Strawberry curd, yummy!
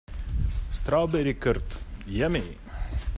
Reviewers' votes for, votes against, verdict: 2, 0, accepted